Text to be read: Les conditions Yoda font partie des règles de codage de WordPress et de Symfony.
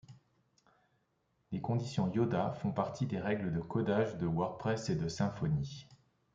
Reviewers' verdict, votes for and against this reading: accepted, 2, 0